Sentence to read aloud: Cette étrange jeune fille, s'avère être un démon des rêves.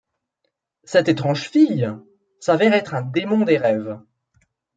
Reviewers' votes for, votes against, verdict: 1, 2, rejected